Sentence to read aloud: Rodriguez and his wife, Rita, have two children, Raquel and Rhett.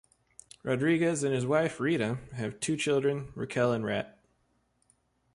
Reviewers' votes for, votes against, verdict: 2, 0, accepted